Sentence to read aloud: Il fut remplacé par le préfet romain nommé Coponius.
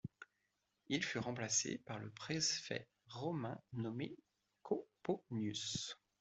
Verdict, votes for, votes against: rejected, 1, 2